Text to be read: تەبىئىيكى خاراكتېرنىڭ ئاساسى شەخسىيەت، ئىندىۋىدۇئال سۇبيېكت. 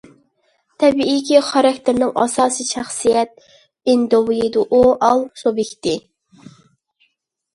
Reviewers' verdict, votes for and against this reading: rejected, 0, 2